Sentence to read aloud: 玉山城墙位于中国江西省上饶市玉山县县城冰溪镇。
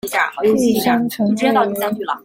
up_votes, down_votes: 0, 2